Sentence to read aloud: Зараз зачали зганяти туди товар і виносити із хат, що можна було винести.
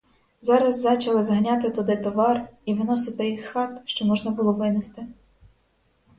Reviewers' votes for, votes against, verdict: 4, 0, accepted